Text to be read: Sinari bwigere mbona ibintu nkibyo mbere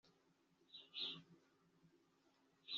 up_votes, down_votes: 1, 2